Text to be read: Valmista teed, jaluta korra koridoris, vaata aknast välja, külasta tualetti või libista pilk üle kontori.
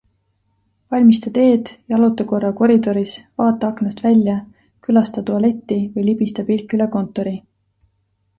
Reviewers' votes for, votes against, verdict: 2, 0, accepted